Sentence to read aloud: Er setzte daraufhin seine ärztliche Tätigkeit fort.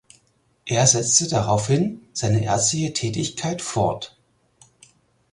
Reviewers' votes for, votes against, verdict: 4, 0, accepted